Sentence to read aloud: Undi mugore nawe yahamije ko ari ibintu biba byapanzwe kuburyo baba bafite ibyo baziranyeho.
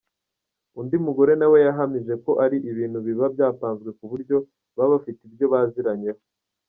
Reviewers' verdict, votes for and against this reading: rejected, 1, 2